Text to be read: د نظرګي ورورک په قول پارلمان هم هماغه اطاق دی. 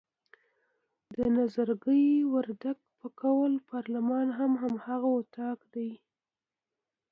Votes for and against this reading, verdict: 1, 2, rejected